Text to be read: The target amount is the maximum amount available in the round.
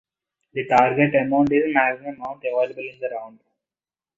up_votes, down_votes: 1, 2